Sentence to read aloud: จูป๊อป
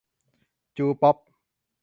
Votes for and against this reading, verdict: 3, 0, accepted